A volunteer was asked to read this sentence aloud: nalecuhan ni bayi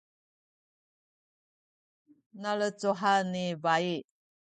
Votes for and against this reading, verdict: 1, 2, rejected